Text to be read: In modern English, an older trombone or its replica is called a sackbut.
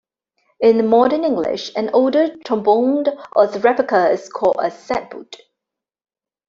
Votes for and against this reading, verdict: 1, 2, rejected